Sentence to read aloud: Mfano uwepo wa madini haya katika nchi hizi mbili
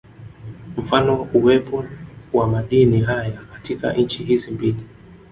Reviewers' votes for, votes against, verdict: 2, 0, accepted